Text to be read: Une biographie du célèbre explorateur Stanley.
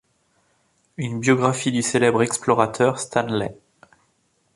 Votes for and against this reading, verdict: 2, 0, accepted